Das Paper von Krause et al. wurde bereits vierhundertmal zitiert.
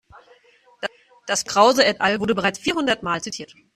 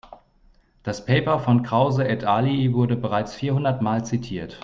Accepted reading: second